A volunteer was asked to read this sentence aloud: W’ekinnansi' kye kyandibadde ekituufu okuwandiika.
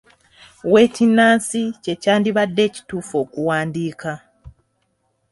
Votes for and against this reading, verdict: 3, 0, accepted